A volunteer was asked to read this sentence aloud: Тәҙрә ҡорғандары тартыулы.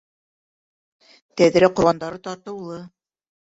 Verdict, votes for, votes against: rejected, 2, 3